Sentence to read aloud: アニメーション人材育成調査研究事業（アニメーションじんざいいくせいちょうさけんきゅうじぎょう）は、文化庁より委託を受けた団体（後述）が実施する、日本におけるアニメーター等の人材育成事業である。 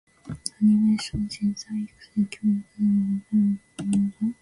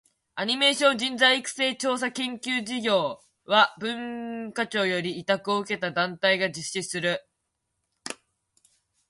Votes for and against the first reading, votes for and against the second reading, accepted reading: 0, 2, 2, 1, second